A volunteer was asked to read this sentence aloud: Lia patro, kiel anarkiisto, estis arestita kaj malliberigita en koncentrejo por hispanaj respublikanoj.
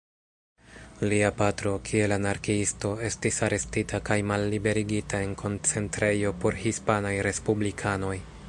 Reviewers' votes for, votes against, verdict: 0, 2, rejected